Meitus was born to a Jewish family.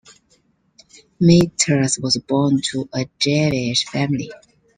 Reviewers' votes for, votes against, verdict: 0, 2, rejected